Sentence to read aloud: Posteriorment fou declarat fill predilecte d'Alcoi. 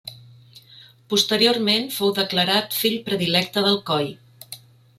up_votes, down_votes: 2, 0